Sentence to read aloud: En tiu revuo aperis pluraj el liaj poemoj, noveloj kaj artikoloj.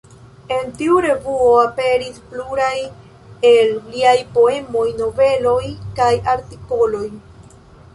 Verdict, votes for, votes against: accepted, 2, 0